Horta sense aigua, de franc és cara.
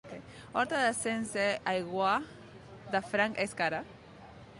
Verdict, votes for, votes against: rejected, 1, 2